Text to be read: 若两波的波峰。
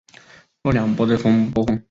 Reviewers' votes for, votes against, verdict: 5, 2, accepted